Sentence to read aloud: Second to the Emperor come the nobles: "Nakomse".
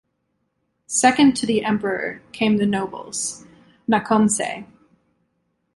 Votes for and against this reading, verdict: 0, 2, rejected